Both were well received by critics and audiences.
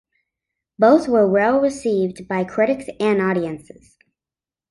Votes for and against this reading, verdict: 2, 0, accepted